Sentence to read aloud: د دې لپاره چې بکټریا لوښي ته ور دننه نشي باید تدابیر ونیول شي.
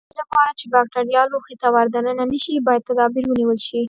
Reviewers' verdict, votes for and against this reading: accepted, 3, 0